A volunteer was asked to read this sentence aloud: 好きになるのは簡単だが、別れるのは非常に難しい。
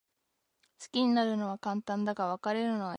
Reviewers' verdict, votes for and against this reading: rejected, 0, 2